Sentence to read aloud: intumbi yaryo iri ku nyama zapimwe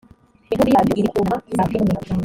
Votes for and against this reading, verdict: 0, 2, rejected